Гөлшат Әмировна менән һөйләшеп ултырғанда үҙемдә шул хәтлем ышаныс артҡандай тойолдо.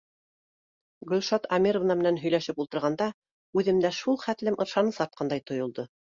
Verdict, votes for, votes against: accepted, 2, 0